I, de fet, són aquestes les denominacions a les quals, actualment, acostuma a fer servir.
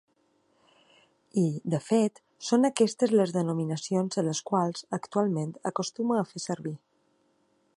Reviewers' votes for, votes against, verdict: 2, 0, accepted